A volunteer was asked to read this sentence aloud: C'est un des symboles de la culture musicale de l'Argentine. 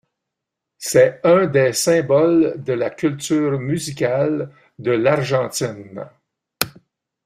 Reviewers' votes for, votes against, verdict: 2, 0, accepted